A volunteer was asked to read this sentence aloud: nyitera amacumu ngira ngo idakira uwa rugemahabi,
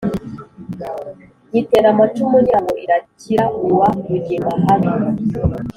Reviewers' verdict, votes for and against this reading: accepted, 2, 0